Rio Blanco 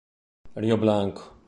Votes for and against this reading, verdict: 2, 0, accepted